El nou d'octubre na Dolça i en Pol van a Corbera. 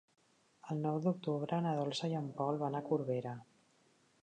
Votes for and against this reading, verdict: 0, 2, rejected